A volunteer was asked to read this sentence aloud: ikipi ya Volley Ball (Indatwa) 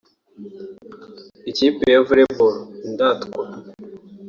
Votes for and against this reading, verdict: 2, 0, accepted